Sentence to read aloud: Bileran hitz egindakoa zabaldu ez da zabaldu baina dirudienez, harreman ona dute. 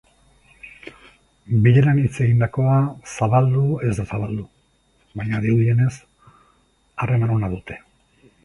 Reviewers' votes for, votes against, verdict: 2, 0, accepted